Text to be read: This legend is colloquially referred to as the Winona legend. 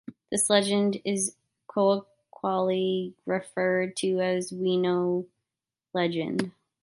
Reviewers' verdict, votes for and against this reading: rejected, 0, 2